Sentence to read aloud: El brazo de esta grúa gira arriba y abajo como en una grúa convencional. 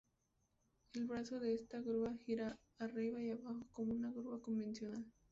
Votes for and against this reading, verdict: 0, 2, rejected